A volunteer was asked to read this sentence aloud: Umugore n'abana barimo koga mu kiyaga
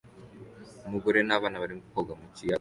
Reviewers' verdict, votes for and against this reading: accepted, 2, 0